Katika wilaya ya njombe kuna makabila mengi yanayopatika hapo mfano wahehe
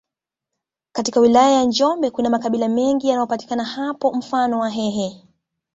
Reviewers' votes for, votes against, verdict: 1, 2, rejected